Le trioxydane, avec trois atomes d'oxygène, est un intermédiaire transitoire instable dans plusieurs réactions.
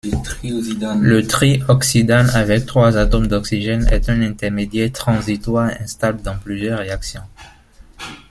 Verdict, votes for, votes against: rejected, 1, 2